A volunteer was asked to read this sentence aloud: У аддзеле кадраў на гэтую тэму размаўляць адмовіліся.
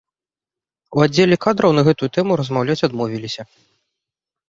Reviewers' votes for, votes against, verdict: 2, 0, accepted